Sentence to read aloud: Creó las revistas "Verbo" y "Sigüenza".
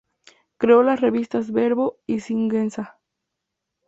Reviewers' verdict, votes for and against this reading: rejected, 0, 2